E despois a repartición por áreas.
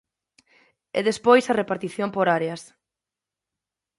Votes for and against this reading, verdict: 26, 0, accepted